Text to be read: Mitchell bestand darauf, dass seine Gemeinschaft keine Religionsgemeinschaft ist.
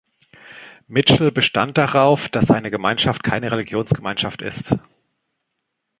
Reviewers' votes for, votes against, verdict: 2, 0, accepted